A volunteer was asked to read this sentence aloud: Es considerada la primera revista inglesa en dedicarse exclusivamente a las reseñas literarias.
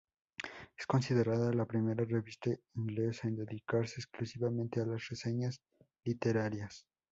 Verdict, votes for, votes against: rejected, 0, 2